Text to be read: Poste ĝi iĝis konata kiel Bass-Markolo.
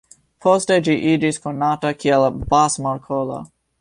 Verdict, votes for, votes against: accepted, 3, 0